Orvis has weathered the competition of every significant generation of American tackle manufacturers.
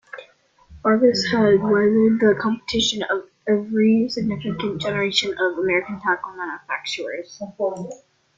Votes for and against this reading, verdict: 0, 2, rejected